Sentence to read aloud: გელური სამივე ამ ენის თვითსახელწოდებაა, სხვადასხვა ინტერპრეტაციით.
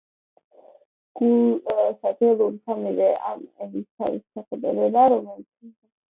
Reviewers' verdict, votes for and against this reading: rejected, 0, 2